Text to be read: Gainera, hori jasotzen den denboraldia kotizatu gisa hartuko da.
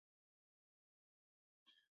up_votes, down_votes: 0, 4